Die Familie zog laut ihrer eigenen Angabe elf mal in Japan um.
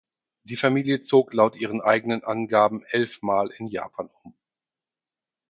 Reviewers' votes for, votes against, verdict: 0, 4, rejected